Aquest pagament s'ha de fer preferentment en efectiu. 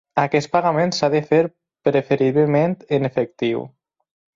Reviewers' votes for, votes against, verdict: 2, 4, rejected